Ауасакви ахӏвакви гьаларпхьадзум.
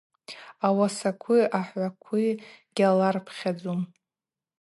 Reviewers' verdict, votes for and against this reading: rejected, 2, 2